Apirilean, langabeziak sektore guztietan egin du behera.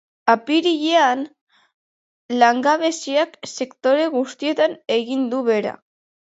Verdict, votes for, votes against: accepted, 2, 1